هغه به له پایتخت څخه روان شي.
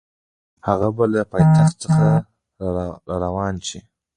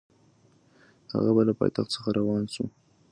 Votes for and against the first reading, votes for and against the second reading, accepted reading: 0, 2, 2, 0, second